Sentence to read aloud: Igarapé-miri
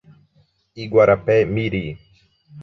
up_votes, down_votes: 1, 2